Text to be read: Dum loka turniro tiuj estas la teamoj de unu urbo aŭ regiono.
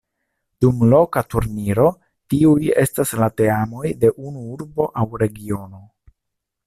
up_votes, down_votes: 2, 0